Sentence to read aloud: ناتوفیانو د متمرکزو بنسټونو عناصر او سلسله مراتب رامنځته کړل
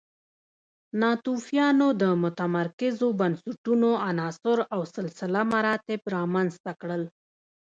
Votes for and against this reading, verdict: 0, 2, rejected